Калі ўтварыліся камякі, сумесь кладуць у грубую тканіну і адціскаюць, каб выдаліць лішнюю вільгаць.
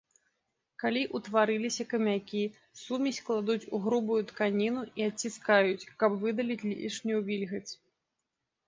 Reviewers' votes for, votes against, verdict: 2, 1, accepted